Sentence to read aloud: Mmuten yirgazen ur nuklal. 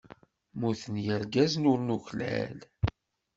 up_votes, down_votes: 2, 0